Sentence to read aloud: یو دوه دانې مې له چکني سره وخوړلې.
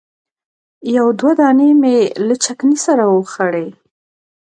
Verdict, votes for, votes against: rejected, 0, 2